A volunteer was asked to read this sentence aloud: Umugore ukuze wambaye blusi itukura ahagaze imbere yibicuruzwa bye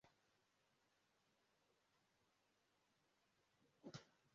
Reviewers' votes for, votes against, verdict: 0, 2, rejected